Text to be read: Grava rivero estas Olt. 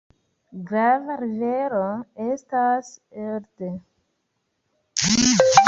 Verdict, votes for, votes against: accepted, 2, 0